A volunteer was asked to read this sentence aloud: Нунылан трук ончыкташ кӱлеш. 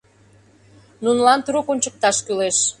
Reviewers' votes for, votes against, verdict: 2, 0, accepted